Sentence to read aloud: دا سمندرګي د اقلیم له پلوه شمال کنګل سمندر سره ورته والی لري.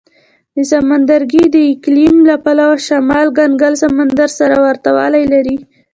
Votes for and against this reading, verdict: 3, 0, accepted